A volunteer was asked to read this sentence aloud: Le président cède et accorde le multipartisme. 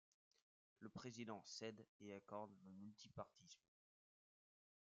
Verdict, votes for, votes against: accepted, 2, 0